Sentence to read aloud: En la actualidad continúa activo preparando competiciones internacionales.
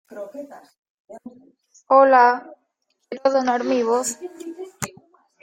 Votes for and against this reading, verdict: 0, 2, rejected